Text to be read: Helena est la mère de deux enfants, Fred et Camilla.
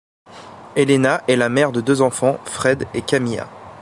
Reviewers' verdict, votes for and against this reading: accepted, 2, 0